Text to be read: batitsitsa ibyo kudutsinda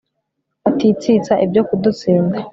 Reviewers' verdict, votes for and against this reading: accepted, 2, 0